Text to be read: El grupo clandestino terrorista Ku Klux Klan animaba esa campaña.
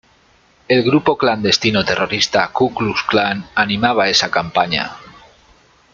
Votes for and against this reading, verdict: 2, 0, accepted